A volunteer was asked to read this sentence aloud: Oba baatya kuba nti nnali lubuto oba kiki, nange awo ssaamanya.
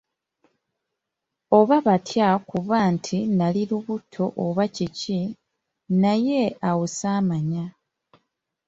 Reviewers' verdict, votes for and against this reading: rejected, 1, 2